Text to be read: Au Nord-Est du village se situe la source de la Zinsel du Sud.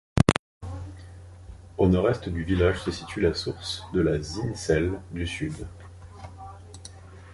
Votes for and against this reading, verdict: 2, 0, accepted